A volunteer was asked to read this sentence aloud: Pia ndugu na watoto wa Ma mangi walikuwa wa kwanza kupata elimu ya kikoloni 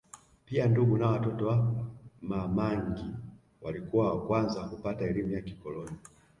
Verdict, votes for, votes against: rejected, 1, 2